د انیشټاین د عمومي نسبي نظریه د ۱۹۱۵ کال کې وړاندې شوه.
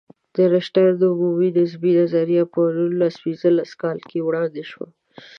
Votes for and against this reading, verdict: 0, 2, rejected